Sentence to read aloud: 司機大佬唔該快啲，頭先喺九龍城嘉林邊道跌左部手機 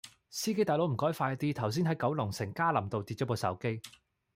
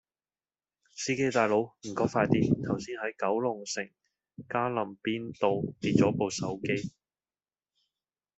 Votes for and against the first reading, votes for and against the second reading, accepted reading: 0, 2, 2, 1, second